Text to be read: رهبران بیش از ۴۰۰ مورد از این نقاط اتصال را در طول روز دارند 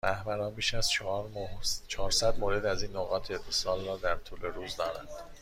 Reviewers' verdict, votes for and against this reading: rejected, 0, 2